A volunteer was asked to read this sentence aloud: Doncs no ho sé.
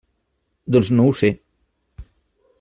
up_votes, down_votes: 3, 0